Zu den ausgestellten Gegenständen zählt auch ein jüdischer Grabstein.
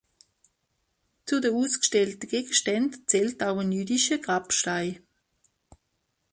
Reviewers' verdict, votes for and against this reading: rejected, 1, 2